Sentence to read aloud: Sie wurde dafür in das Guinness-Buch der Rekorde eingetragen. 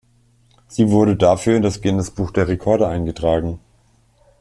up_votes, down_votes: 2, 0